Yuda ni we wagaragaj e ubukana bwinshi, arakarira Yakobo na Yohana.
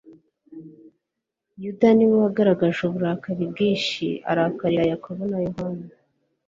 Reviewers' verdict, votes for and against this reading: accepted, 2, 0